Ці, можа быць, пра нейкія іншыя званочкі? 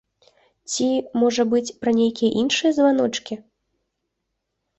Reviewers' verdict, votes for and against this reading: accepted, 3, 0